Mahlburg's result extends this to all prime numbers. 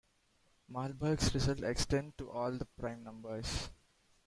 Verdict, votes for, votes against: rejected, 0, 2